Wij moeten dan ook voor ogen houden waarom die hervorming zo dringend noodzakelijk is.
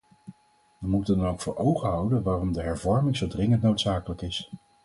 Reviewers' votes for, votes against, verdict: 0, 4, rejected